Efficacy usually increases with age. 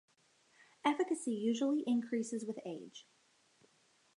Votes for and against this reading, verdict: 2, 0, accepted